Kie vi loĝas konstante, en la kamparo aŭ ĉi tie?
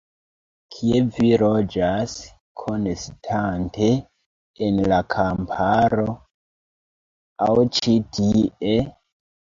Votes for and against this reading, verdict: 1, 3, rejected